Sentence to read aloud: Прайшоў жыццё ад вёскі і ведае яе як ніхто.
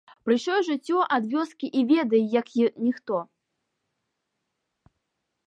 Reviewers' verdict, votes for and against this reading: rejected, 0, 2